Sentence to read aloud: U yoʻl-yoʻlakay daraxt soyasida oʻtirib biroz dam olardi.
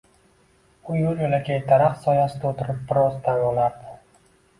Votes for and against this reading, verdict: 2, 1, accepted